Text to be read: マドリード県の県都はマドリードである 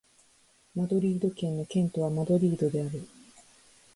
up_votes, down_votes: 3, 0